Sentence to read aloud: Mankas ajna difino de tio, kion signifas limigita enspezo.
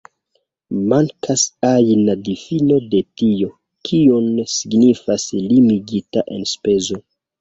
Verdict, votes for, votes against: rejected, 1, 2